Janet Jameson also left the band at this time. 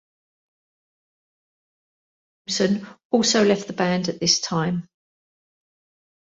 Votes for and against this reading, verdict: 0, 2, rejected